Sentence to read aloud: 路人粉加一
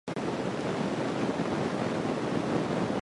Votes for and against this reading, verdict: 0, 2, rejected